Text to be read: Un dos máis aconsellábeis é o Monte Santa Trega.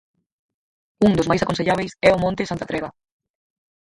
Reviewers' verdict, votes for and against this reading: rejected, 0, 4